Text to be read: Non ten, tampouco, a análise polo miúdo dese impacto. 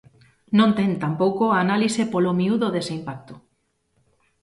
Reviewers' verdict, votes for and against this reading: accepted, 2, 0